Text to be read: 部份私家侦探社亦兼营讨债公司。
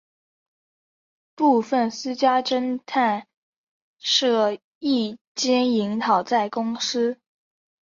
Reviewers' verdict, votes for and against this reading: accepted, 2, 0